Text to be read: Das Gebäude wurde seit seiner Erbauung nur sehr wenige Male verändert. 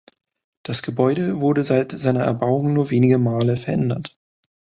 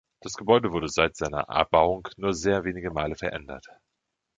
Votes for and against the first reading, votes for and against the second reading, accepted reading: 1, 2, 2, 1, second